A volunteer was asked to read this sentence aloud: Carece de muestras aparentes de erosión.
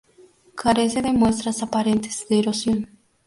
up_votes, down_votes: 2, 0